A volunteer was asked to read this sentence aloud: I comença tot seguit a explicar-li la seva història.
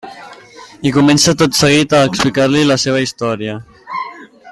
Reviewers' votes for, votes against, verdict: 3, 1, accepted